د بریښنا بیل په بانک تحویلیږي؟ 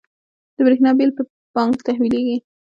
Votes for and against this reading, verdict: 2, 1, accepted